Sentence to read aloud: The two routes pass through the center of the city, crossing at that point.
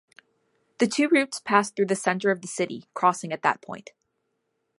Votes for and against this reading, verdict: 2, 0, accepted